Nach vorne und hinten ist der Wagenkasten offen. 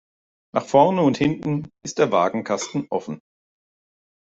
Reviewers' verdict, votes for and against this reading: accepted, 2, 0